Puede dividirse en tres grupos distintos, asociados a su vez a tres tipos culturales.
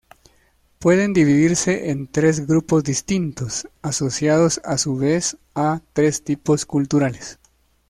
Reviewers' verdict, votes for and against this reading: rejected, 1, 2